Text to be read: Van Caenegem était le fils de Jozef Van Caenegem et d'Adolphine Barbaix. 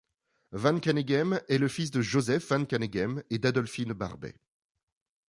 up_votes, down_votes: 1, 2